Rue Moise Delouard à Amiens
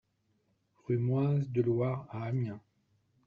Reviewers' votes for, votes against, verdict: 2, 0, accepted